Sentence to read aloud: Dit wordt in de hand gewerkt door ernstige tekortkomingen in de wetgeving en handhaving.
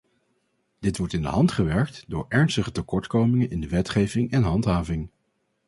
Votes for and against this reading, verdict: 4, 0, accepted